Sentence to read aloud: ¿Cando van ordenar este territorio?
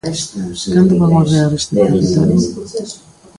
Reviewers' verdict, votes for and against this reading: rejected, 0, 2